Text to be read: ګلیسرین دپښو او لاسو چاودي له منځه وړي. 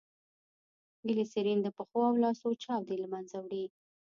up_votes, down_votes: 1, 2